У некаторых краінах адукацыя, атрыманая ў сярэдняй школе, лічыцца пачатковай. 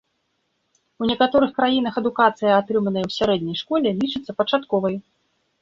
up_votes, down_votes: 1, 2